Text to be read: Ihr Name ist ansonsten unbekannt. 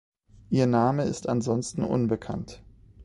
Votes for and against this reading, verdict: 2, 0, accepted